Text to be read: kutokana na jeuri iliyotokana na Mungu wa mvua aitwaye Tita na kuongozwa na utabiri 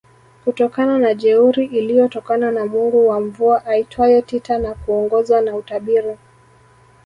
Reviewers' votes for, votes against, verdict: 1, 2, rejected